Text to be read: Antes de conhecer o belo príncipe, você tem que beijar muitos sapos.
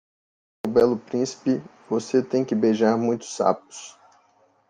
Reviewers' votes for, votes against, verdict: 0, 2, rejected